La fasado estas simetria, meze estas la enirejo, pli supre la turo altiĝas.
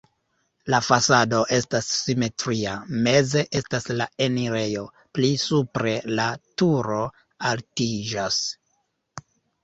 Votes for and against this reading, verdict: 2, 0, accepted